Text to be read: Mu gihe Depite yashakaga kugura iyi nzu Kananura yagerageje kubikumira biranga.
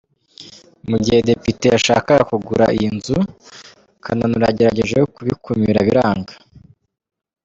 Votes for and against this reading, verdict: 1, 2, rejected